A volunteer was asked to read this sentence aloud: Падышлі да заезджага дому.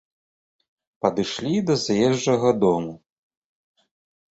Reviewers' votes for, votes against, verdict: 2, 0, accepted